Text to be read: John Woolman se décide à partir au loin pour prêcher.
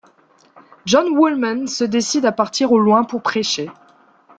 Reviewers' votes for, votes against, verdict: 2, 0, accepted